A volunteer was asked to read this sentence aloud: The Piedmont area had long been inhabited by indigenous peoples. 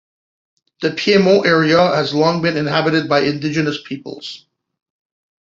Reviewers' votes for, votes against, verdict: 0, 2, rejected